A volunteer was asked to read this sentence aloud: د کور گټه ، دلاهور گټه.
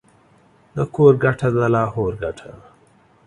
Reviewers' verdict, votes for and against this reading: accepted, 2, 0